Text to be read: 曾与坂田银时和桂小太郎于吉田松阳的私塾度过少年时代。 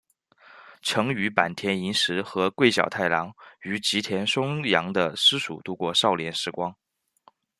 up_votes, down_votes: 0, 2